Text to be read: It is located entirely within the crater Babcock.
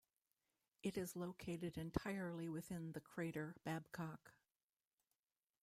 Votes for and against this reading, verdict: 1, 2, rejected